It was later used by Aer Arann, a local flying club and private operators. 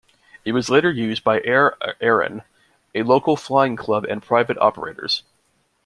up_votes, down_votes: 2, 1